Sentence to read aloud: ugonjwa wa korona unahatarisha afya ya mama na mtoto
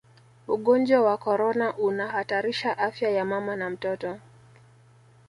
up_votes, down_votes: 0, 2